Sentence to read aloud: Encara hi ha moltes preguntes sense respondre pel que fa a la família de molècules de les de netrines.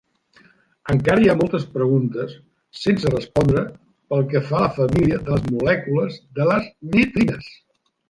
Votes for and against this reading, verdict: 0, 2, rejected